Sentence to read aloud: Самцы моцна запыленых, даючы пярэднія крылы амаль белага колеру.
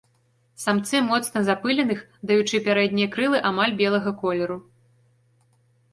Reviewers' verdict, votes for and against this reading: accepted, 2, 0